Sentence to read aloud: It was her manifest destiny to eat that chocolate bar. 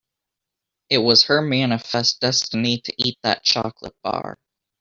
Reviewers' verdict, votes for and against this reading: rejected, 0, 2